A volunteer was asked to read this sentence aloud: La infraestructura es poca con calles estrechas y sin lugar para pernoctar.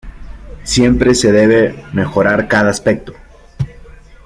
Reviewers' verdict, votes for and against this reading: rejected, 0, 2